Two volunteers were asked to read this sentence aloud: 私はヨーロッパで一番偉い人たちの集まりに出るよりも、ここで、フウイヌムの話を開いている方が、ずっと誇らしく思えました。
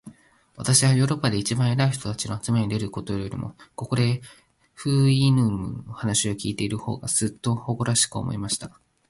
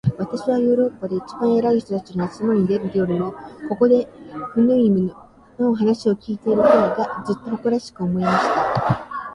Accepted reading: first